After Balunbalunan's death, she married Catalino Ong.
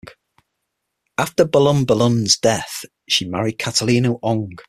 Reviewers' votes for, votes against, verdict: 6, 0, accepted